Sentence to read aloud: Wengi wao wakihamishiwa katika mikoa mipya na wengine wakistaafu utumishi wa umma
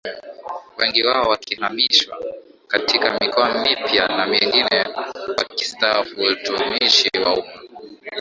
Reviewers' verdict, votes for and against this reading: rejected, 0, 2